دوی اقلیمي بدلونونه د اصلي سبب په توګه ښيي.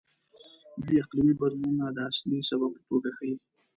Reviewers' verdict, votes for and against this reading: rejected, 0, 2